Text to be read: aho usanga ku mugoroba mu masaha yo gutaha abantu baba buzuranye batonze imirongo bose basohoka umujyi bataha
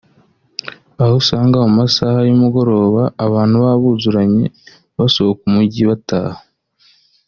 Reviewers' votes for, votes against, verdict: 1, 2, rejected